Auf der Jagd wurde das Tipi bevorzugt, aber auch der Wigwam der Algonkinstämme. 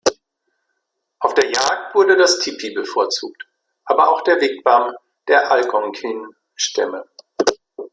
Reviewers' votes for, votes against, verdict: 2, 0, accepted